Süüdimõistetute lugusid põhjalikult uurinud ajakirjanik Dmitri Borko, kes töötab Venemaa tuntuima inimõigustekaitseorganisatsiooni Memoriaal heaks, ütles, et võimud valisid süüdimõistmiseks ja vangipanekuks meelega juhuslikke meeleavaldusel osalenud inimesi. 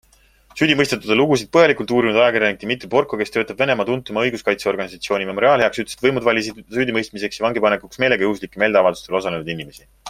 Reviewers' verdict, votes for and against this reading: accepted, 2, 1